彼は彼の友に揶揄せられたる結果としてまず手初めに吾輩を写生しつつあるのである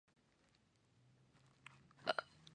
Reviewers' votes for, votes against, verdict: 0, 3, rejected